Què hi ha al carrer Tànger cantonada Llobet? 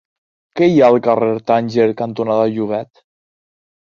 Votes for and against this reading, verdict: 2, 0, accepted